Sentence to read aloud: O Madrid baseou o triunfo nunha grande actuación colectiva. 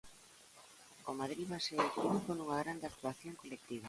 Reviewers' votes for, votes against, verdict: 1, 2, rejected